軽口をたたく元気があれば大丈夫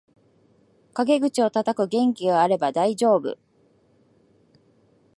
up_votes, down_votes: 0, 2